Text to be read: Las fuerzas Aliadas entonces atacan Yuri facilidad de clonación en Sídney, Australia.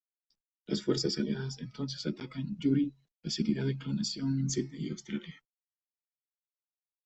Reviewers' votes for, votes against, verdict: 1, 2, rejected